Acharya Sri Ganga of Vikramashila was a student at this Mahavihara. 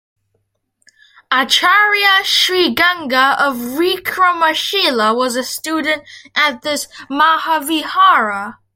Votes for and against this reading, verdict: 0, 2, rejected